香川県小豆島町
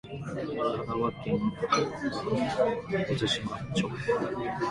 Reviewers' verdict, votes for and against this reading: rejected, 1, 2